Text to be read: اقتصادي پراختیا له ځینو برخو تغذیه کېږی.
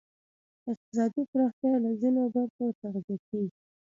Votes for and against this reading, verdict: 0, 2, rejected